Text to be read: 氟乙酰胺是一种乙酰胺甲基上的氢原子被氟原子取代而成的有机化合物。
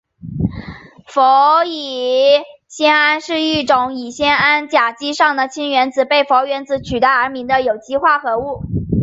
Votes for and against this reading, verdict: 2, 0, accepted